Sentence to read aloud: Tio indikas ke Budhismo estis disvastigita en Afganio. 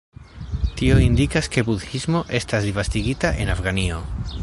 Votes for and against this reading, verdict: 0, 2, rejected